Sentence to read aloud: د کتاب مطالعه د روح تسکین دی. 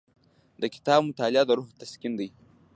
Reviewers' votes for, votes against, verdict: 1, 2, rejected